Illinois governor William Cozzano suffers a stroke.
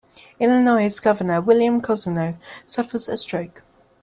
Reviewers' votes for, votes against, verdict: 1, 2, rejected